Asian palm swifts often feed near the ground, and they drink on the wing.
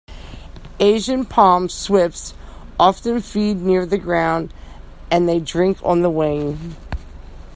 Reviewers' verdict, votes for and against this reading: accepted, 2, 0